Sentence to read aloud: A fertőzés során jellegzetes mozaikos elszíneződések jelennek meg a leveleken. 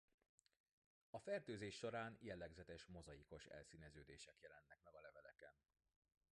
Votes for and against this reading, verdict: 1, 2, rejected